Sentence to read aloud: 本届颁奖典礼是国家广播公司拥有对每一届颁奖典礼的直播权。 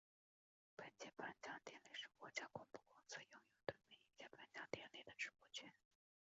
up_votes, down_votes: 2, 4